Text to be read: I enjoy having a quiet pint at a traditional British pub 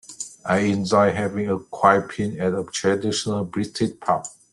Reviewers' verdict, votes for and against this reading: rejected, 1, 2